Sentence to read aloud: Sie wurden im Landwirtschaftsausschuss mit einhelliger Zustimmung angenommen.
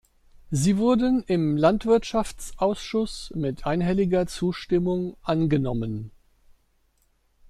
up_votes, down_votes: 2, 0